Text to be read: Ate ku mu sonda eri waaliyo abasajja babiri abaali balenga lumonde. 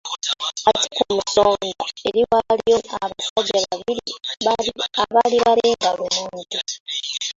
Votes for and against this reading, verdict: 0, 2, rejected